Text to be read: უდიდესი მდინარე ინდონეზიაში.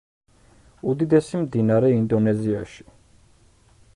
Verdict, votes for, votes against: accepted, 2, 0